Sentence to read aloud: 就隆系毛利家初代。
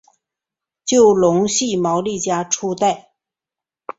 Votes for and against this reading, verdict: 5, 0, accepted